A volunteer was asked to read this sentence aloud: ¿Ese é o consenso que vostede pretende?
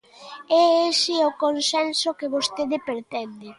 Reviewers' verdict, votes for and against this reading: rejected, 0, 2